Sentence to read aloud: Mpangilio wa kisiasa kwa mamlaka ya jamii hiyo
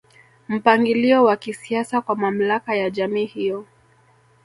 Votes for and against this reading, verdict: 8, 0, accepted